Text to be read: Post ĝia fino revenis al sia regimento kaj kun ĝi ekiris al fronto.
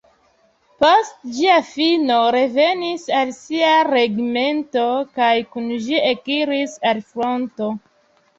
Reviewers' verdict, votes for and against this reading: accepted, 3, 0